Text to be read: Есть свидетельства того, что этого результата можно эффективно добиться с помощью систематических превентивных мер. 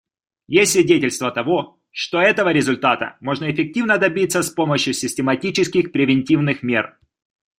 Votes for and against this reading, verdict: 2, 0, accepted